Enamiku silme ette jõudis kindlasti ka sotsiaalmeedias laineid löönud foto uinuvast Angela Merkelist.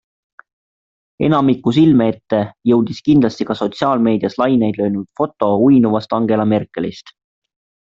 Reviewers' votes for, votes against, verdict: 2, 0, accepted